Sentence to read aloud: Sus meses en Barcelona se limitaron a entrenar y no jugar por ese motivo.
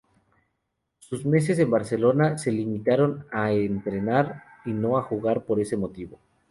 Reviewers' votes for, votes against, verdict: 2, 2, rejected